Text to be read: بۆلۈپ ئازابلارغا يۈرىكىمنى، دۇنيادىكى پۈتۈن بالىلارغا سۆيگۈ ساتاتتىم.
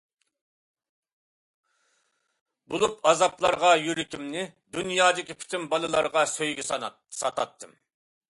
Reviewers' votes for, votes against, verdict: 0, 2, rejected